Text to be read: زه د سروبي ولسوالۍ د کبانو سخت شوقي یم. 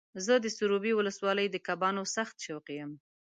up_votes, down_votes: 2, 0